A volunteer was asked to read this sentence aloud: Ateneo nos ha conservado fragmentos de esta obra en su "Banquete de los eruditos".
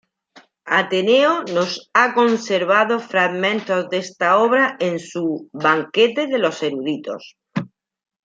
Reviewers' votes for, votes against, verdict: 0, 2, rejected